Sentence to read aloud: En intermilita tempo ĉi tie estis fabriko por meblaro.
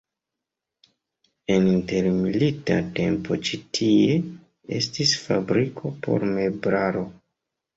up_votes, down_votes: 2, 0